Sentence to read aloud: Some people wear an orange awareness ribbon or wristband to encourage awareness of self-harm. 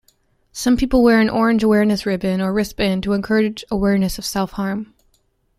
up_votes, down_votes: 2, 0